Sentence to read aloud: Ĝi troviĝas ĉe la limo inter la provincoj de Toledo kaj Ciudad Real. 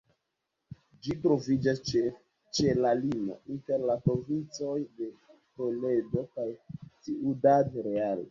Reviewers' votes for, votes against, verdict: 1, 2, rejected